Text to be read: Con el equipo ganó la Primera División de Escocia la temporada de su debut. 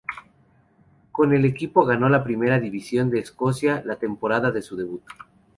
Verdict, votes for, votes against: accepted, 2, 0